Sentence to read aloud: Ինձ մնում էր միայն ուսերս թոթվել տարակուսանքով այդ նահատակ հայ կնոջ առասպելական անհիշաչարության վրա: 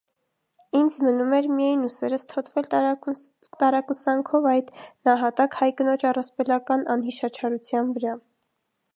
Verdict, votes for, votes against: rejected, 0, 2